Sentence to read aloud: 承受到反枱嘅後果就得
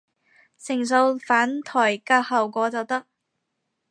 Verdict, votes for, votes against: rejected, 0, 4